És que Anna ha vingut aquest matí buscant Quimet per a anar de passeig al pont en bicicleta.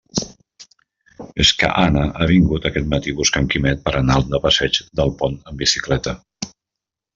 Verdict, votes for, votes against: rejected, 0, 2